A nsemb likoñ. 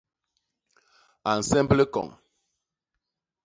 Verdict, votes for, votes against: accepted, 2, 0